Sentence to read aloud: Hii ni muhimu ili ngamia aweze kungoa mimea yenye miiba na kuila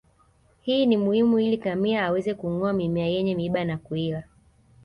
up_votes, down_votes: 2, 0